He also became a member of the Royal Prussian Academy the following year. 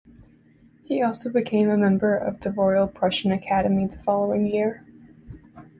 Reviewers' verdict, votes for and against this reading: accepted, 2, 0